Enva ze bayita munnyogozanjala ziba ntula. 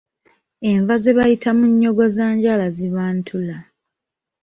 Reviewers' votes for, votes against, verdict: 2, 0, accepted